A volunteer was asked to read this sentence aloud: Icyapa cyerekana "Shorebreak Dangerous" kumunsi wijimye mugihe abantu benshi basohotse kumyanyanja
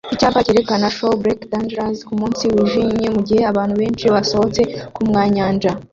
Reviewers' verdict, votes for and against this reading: rejected, 1, 2